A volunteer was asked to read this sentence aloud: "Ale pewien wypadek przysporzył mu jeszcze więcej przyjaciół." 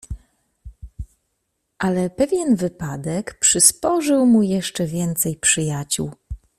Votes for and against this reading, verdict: 2, 0, accepted